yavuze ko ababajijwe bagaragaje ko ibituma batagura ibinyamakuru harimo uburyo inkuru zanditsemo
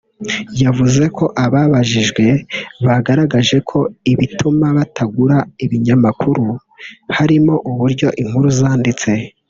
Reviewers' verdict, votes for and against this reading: rejected, 1, 2